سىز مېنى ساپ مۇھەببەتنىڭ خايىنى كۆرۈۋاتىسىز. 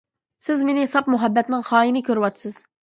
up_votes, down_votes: 2, 0